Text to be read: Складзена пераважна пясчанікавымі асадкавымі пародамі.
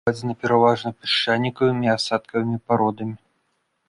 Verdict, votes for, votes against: rejected, 1, 2